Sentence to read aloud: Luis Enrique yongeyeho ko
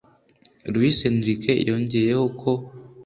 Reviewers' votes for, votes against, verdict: 2, 0, accepted